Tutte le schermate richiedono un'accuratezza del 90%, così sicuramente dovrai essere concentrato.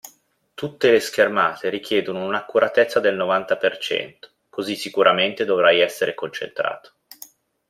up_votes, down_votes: 0, 2